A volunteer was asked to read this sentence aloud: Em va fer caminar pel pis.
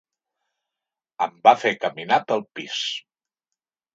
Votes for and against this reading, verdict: 3, 0, accepted